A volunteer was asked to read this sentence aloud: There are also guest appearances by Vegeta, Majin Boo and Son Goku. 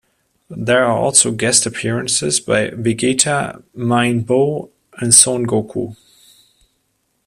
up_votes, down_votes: 2, 0